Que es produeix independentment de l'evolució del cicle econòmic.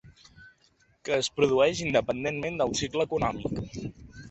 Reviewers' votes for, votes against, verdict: 2, 3, rejected